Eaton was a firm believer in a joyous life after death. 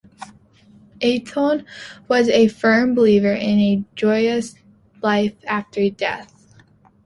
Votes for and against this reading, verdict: 2, 0, accepted